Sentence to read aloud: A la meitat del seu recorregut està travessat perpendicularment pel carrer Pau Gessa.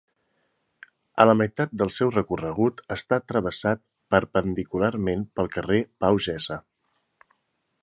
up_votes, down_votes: 2, 0